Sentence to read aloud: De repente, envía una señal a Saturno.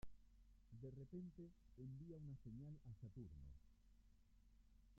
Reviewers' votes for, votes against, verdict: 0, 2, rejected